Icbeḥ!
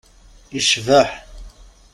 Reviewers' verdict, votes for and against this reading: accepted, 2, 0